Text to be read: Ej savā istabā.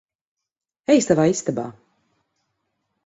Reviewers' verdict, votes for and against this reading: accepted, 4, 0